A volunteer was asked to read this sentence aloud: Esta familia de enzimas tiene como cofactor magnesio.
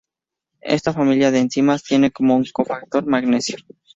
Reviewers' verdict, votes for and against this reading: accepted, 4, 0